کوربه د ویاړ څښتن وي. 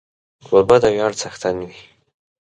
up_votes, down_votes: 2, 0